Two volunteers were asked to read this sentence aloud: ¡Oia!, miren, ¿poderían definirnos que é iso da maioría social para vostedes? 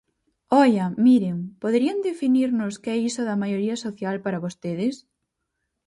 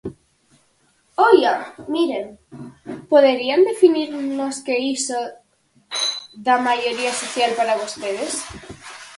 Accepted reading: first